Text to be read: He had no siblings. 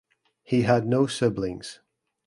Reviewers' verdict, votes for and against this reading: accepted, 2, 0